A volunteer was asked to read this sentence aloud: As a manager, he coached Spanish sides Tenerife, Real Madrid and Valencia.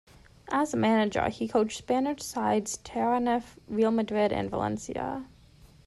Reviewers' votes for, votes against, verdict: 0, 2, rejected